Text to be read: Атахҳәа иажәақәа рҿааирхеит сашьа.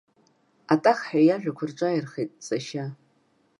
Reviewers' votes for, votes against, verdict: 2, 0, accepted